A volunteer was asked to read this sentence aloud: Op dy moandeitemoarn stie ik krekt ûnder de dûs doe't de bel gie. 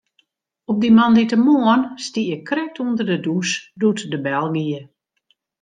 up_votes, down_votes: 2, 0